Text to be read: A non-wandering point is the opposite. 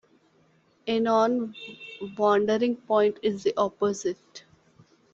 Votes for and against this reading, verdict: 2, 0, accepted